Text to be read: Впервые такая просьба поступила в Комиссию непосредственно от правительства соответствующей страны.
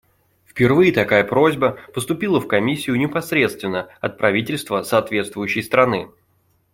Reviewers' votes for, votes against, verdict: 2, 0, accepted